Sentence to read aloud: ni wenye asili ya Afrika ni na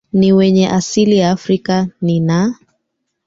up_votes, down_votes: 1, 3